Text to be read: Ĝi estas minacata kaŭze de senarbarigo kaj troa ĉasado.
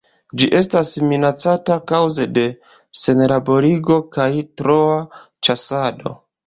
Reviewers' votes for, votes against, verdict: 0, 2, rejected